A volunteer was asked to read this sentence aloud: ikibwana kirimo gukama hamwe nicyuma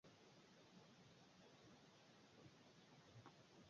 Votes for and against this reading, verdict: 0, 3, rejected